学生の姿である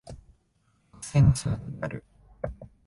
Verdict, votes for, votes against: rejected, 1, 2